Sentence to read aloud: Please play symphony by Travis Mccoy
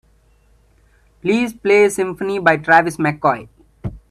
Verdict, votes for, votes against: accepted, 2, 0